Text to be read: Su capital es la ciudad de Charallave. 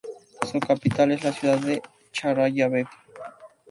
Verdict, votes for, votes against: rejected, 2, 2